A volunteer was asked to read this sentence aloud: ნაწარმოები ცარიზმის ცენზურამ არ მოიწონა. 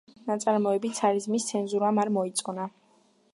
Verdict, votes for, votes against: accepted, 2, 0